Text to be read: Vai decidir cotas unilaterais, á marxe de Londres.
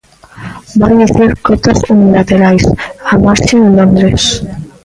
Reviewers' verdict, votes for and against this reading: rejected, 0, 2